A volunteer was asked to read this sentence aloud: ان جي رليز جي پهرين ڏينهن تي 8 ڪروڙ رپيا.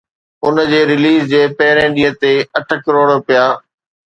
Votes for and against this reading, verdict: 0, 2, rejected